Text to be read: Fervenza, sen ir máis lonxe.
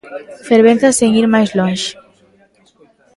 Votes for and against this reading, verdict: 1, 2, rejected